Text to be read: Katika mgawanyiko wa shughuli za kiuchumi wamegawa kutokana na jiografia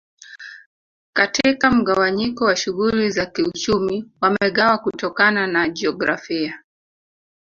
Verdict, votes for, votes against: rejected, 1, 2